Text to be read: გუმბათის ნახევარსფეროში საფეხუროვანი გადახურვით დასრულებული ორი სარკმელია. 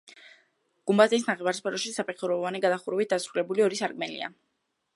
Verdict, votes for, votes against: rejected, 0, 2